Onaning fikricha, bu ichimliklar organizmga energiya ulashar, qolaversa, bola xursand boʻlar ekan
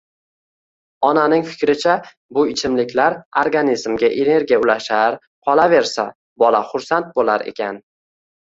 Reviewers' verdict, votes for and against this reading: accepted, 2, 0